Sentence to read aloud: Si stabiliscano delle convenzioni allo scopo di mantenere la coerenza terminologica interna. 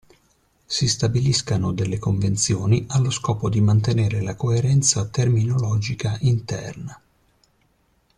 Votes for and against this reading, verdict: 2, 0, accepted